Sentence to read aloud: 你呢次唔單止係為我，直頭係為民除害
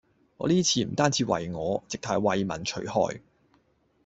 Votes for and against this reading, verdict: 0, 2, rejected